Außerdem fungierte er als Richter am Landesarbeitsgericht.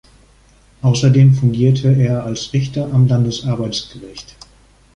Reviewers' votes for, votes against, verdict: 2, 0, accepted